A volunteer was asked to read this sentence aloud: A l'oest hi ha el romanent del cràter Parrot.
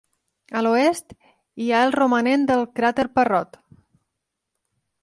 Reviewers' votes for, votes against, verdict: 3, 0, accepted